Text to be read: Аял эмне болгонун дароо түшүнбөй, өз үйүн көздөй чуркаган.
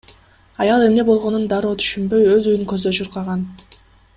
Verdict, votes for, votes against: accepted, 2, 0